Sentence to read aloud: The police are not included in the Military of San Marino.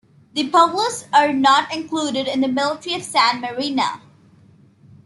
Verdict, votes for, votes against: accepted, 2, 1